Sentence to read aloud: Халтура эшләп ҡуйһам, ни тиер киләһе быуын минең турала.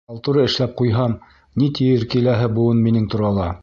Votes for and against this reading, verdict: 2, 0, accepted